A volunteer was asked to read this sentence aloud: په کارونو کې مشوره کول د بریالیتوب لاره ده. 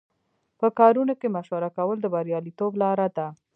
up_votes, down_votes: 1, 2